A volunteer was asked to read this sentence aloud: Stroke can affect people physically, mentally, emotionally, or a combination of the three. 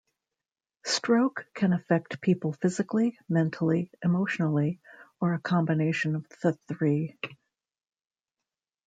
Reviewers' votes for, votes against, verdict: 2, 0, accepted